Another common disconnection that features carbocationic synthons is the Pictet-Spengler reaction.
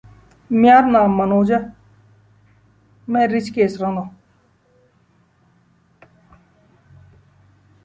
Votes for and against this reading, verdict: 0, 2, rejected